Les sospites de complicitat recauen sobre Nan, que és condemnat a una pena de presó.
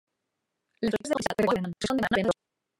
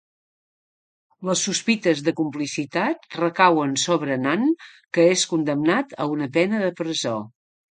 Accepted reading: second